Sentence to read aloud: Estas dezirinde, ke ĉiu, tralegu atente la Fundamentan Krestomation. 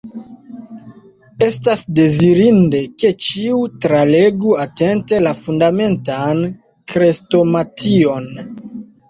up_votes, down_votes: 2, 0